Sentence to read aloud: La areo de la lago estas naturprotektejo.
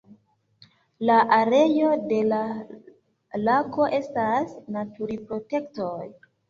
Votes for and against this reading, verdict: 1, 2, rejected